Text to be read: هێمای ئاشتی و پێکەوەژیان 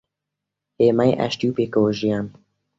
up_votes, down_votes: 2, 0